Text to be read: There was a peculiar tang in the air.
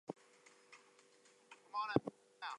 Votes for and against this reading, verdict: 0, 8, rejected